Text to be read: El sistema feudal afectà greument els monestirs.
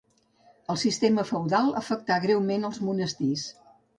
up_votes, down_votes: 3, 0